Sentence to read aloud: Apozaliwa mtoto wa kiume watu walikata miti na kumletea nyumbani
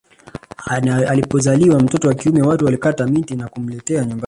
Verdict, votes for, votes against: rejected, 1, 2